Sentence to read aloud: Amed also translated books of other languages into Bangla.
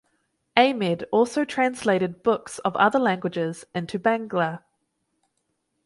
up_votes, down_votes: 4, 0